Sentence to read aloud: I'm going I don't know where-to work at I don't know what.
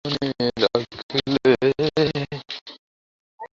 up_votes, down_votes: 0, 2